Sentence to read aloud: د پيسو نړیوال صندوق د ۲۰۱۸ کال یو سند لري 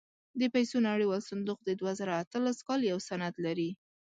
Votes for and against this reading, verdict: 0, 2, rejected